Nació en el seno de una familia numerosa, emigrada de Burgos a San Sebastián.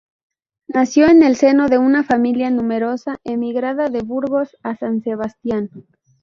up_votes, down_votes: 0, 2